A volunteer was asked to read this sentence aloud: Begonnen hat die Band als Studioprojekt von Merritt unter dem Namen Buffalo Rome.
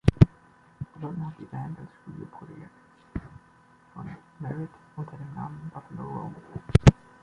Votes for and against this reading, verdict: 0, 2, rejected